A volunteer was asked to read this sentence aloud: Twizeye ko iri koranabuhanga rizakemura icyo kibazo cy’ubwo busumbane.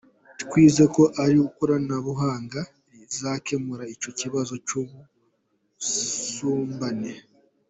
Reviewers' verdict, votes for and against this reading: rejected, 0, 2